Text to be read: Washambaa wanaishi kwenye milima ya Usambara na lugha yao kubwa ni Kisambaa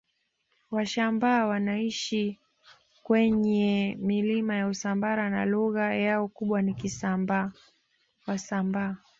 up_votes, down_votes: 1, 2